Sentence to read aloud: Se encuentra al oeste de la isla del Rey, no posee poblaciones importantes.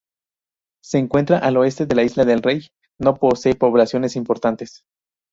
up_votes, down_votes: 0, 2